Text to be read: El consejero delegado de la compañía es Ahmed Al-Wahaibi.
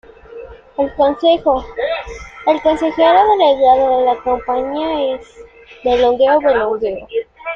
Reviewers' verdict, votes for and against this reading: rejected, 0, 2